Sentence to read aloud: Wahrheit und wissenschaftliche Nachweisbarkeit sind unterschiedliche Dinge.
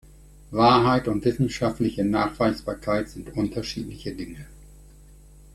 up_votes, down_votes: 3, 0